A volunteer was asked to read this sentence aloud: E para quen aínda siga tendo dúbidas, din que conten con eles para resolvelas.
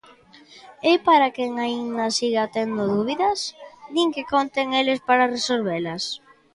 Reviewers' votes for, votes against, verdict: 0, 2, rejected